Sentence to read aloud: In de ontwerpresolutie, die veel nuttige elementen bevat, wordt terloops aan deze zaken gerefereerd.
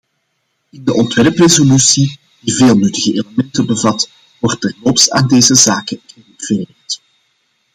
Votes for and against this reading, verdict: 1, 2, rejected